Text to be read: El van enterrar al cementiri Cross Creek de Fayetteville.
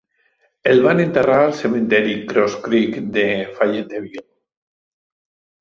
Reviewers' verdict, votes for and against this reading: rejected, 1, 2